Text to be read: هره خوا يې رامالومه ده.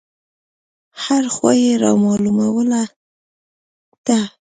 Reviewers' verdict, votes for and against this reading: rejected, 1, 2